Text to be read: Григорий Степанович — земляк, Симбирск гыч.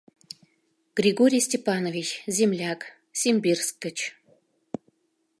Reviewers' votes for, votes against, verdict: 2, 0, accepted